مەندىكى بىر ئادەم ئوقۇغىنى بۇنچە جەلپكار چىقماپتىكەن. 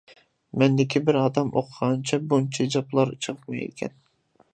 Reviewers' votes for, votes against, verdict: 0, 2, rejected